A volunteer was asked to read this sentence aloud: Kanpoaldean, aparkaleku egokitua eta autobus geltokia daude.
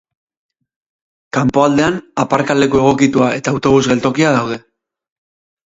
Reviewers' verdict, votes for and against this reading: rejected, 2, 2